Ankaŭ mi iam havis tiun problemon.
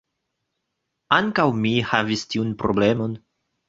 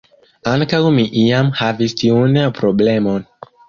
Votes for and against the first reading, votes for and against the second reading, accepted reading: 1, 2, 2, 1, second